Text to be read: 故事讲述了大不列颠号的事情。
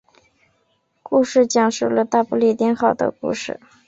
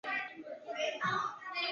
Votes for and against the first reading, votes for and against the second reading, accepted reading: 3, 0, 2, 4, first